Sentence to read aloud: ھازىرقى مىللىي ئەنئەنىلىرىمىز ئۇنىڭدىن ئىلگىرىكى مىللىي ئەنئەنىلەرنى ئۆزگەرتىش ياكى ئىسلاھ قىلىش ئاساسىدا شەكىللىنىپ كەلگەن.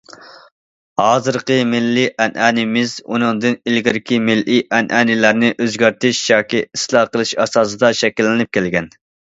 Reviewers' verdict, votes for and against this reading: rejected, 1, 2